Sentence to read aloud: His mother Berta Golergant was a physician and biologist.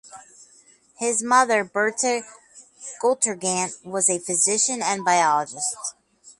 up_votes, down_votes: 0, 4